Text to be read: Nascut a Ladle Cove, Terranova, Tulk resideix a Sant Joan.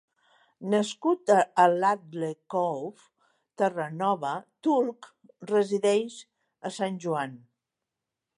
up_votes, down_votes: 2, 0